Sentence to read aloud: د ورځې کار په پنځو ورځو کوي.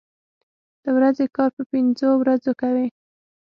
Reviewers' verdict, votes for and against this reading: accepted, 6, 0